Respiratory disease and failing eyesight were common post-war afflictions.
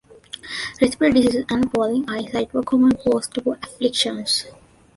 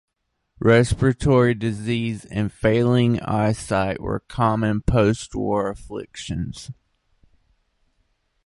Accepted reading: second